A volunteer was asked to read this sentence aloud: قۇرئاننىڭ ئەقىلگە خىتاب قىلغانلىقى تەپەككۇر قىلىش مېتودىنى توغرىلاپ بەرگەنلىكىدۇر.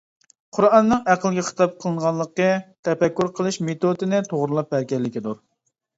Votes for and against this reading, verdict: 1, 2, rejected